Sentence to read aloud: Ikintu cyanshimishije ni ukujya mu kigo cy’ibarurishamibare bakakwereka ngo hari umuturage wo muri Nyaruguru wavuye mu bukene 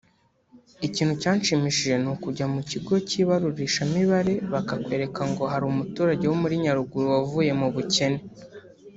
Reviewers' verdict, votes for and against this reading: accepted, 2, 0